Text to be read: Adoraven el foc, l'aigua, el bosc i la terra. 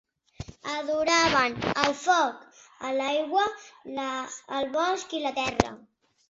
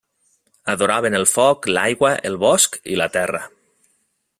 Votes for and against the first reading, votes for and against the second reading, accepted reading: 1, 2, 4, 0, second